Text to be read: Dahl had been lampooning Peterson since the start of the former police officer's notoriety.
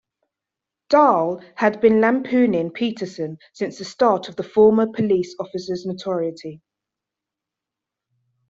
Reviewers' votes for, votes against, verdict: 0, 2, rejected